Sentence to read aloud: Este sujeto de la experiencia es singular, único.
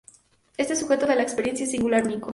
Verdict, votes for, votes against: rejected, 0, 2